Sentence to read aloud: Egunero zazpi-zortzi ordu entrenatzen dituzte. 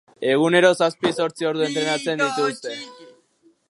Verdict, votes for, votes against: rejected, 1, 2